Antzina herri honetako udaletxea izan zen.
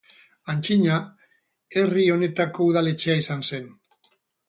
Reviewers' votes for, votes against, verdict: 6, 2, accepted